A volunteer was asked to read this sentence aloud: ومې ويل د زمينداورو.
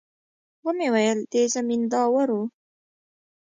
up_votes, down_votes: 1, 2